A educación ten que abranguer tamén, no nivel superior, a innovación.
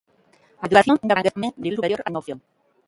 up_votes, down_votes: 0, 2